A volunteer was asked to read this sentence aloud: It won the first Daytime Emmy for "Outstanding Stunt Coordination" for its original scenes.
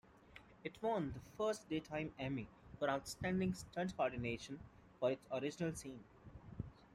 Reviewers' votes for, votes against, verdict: 2, 0, accepted